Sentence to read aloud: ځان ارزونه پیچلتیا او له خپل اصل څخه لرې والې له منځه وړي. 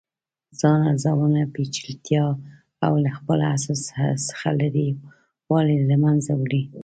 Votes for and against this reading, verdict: 2, 0, accepted